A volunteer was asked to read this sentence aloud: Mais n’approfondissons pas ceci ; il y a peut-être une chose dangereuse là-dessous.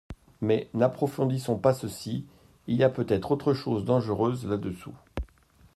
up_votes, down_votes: 0, 2